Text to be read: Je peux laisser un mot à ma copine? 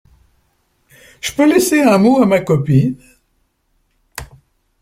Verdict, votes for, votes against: accepted, 2, 0